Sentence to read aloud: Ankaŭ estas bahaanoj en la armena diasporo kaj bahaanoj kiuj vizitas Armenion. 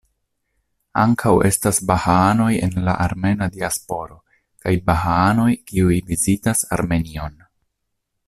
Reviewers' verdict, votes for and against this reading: accepted, 2, 0